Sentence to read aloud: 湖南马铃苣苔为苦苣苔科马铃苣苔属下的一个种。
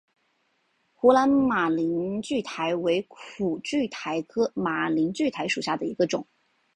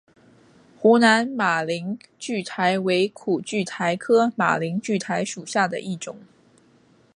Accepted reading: first